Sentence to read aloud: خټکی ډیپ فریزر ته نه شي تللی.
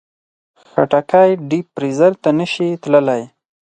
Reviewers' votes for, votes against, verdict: 4, 0, accepted